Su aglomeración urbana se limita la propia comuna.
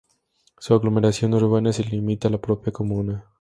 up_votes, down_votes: 4, 2